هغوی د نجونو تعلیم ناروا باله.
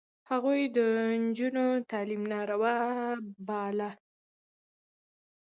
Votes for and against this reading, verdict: 2, 0, accepted